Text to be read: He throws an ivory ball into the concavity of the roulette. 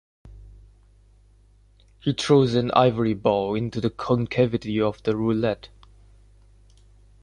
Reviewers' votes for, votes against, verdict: 2, 0, accepted